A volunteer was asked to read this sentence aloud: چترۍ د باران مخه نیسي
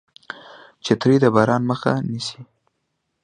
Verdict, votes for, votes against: accepted, 2, 0